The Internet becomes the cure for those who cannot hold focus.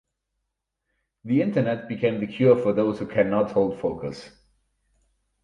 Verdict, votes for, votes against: rejected, 2, 4